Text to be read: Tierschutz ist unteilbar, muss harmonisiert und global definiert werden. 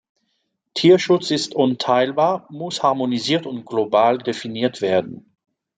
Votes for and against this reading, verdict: 2, 0, accepted